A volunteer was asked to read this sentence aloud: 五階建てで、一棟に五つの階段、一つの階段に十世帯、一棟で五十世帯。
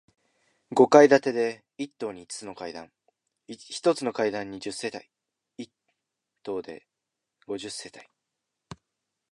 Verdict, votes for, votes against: rejected, 0, 2